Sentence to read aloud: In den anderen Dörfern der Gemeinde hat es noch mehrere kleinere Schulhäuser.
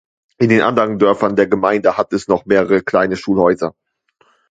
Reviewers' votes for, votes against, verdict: 1, 2, rejected